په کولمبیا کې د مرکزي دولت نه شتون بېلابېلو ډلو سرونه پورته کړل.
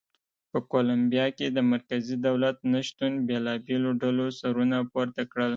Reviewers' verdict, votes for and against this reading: accepted, 2, 0